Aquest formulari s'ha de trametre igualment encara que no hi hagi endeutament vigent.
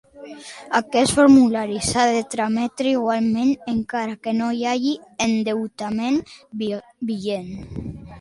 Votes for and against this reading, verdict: 0, 2, rejected